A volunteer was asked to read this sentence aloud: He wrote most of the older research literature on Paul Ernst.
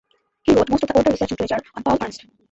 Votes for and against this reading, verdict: 0, 2, rejected